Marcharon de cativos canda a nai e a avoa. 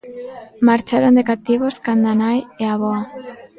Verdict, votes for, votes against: rejected, 0, 2